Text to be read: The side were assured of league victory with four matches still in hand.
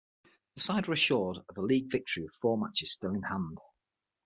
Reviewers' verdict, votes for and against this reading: rejected, 0, 6